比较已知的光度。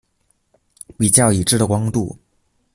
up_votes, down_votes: 2, 0